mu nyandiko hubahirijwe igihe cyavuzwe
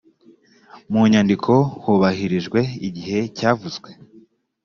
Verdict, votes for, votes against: accepted, 2, 0